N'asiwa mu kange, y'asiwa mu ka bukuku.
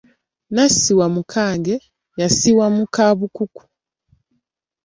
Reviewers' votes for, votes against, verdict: 2, 0, accepted